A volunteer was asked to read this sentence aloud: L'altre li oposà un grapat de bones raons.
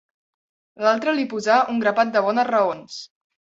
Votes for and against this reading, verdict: 0, 2, rejected